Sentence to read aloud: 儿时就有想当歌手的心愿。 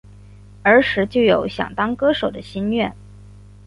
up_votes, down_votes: 2, 0